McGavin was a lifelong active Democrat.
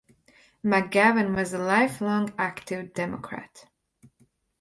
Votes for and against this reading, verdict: 2, 0, accepted